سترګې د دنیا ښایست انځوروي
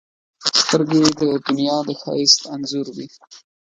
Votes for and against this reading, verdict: 0, 2, rejected